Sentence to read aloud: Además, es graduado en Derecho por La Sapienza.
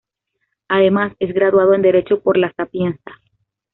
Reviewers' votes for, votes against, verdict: 2, 0, accepted